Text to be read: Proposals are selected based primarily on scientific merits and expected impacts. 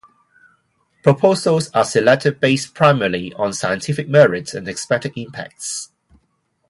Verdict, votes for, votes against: accepted, 2, 0